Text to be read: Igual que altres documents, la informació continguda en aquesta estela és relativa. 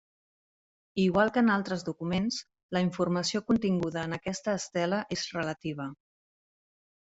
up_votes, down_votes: 0, 2